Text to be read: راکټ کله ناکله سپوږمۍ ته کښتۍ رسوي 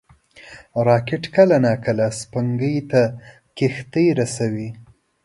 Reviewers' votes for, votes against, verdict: 2, 1, accepted